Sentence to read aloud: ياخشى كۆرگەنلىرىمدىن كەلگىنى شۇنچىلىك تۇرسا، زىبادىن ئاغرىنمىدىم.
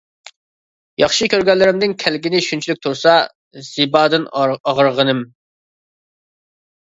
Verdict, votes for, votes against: rejected, 0, 2